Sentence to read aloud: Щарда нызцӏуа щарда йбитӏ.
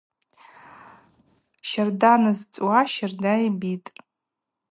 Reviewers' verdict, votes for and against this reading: accepted, 2, 0